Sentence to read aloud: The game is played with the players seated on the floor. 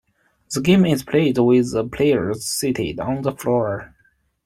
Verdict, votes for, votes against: accepted, 2, 1